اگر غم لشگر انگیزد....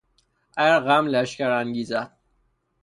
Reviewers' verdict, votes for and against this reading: rejected, 0, 3